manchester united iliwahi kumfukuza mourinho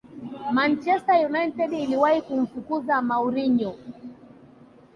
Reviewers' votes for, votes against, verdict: 2, 3, rejected